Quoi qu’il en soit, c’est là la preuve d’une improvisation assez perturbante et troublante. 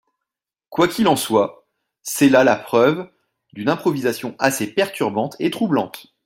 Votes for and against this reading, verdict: 2, 0, accepted